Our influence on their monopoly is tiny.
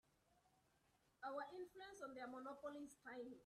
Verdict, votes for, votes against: rejected, 1, 4